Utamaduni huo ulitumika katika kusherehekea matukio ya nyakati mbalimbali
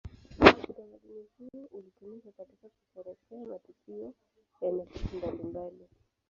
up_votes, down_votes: 0, 2